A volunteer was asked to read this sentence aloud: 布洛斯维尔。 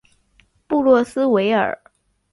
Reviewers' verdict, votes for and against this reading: accepted, 3, 1